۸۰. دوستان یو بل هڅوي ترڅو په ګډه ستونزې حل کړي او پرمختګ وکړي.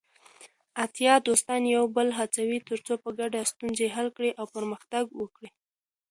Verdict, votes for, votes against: rejected, 0, 2